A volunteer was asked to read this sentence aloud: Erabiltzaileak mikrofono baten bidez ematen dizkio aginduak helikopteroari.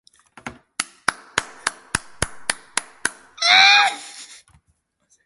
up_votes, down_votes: 0, 2